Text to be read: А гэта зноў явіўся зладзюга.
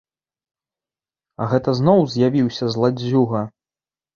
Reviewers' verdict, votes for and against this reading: rejected, 0, 3